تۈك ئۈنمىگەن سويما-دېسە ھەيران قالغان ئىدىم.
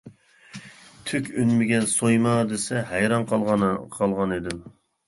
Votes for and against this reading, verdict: 1, 2, rejected